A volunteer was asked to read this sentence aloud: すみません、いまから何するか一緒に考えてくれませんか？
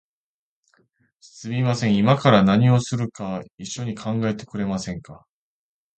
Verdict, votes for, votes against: rejected, 1, 2